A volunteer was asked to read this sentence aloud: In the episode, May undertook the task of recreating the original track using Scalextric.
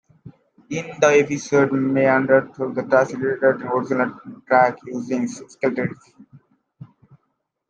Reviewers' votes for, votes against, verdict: 1, 2, rejected